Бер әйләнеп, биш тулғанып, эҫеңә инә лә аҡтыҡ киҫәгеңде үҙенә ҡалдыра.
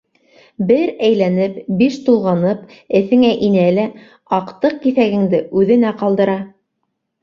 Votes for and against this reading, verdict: 2, 0, accepted